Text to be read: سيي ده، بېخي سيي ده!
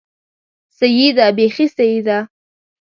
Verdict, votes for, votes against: rejected, 0, 2